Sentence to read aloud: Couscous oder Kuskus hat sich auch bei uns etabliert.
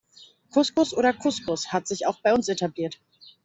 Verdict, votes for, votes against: accepted, 2, 0